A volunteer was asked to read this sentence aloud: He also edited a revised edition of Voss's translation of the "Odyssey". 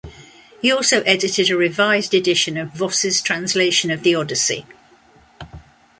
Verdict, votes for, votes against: accepted, 2, 0